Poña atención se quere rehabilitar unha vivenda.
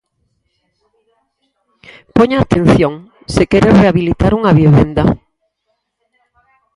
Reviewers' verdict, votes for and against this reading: rejected, 0, 4